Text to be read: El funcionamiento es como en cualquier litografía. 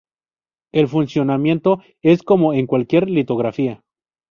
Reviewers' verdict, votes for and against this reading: accepted, 2, 0